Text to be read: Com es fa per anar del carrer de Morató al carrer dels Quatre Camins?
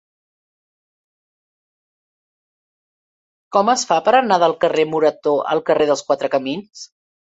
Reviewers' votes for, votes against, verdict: 1, 2, rejected